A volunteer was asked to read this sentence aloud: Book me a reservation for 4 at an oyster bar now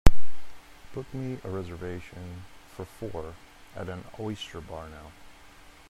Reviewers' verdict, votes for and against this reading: rejected, 0, 2